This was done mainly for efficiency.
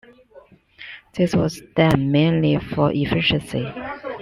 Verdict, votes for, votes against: accepted, 2, 0